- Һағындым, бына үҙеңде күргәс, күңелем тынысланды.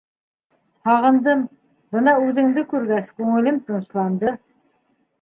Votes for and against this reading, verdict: 2, 0, accepted